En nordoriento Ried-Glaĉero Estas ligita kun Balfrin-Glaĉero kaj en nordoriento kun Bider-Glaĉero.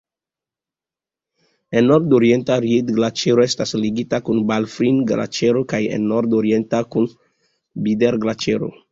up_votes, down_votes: 2, 0